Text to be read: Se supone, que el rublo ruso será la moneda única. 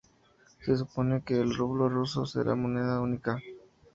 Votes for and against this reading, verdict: 2, 4, rejected